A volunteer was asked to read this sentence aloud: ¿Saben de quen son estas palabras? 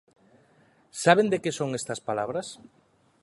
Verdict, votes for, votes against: rejected, 0, 2